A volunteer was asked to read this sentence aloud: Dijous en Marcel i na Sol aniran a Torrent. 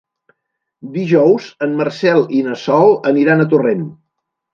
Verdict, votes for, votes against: accepted, 3, 0